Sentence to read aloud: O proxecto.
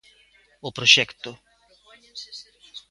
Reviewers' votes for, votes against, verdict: 1, 2, rejected